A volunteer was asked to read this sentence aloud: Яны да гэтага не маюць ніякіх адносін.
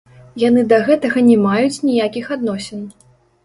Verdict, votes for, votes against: rejected, 0, 2